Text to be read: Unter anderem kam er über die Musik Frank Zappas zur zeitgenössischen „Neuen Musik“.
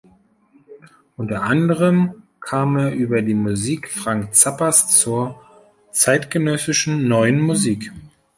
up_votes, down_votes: 2, 0